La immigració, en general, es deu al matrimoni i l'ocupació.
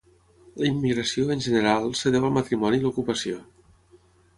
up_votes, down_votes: 3, 3